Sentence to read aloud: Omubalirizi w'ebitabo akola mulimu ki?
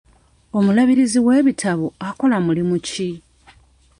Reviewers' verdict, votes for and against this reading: accepted, 2, 1